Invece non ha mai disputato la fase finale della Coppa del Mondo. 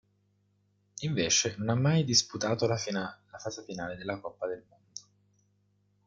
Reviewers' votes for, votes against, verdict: 0, 2, rejected